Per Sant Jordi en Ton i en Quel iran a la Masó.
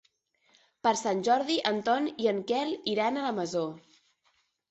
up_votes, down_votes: 3, 0